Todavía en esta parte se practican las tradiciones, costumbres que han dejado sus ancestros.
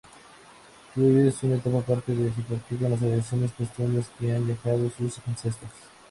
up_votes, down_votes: 0, 2